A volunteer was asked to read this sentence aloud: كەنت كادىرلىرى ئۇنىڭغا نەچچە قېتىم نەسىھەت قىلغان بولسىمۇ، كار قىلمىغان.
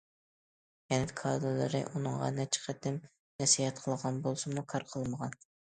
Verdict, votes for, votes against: accepted, 2, 0